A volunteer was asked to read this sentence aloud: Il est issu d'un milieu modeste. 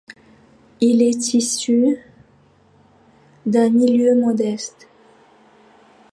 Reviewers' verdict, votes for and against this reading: accepted, 2, 0